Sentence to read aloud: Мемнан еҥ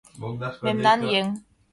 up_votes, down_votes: 1, 2